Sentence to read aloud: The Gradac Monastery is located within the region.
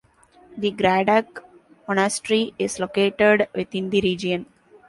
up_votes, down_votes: 2, 0